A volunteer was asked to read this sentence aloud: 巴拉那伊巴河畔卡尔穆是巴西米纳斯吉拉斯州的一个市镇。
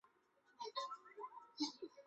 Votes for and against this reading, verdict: 0, 2, rejected